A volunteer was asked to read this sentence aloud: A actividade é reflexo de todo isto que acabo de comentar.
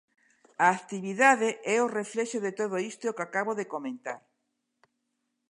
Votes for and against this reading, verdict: 0, 2, rejected